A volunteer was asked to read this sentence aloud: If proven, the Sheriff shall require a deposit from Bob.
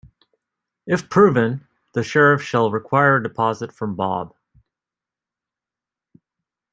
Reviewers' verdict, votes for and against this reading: accepted, 2, 0